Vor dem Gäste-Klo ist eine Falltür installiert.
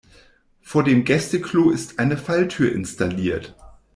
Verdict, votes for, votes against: accepted, 2, 0